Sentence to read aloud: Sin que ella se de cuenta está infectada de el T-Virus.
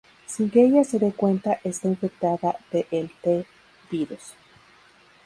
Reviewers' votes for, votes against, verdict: 2, 0, accepted